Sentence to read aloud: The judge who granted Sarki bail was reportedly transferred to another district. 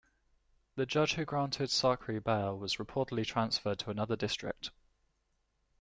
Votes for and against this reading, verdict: 2, 0, accepted